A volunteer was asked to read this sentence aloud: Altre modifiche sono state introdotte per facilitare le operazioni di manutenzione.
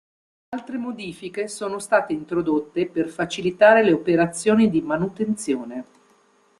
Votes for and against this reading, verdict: 2, 0, accepted